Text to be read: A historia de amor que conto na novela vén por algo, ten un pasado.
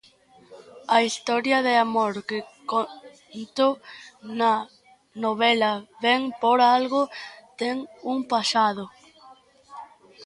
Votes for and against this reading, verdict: 2, 0, accepted